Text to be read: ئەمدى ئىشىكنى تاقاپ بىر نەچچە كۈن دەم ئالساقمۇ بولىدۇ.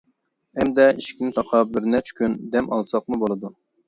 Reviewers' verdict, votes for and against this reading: accepted, 2, 0